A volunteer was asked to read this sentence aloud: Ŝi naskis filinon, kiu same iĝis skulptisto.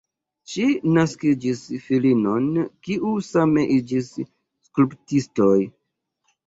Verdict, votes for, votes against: rejected, 0, 2